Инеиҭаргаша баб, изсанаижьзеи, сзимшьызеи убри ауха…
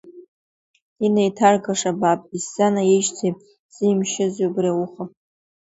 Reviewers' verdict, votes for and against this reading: rejected, 1, 2